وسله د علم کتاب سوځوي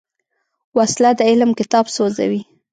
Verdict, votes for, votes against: accepted, 2, 0